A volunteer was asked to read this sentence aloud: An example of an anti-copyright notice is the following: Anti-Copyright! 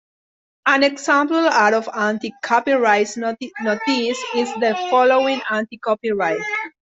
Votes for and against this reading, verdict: 0, 2, rejected